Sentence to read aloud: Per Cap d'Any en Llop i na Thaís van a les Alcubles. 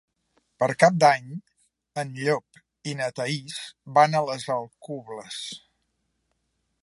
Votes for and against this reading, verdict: 3, 0, accepted